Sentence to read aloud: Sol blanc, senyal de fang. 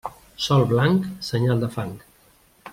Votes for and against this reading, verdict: 3, 0, accepted